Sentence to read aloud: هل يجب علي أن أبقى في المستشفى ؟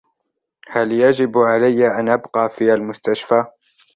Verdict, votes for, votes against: accepted, 4, 0